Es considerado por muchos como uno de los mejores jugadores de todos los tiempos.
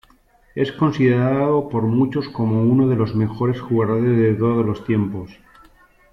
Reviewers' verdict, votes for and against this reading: accepted, 2, 0